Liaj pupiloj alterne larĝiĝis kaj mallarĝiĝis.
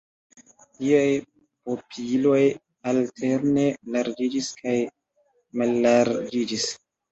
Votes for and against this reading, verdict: 2, 0, accepted